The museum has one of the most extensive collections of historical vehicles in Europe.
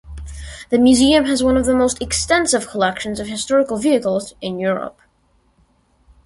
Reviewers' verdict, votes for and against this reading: accepted, 2, 0